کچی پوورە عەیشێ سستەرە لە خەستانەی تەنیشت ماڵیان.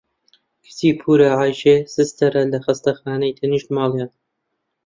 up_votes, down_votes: 0, 2